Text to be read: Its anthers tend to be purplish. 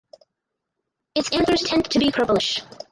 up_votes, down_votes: 2, 4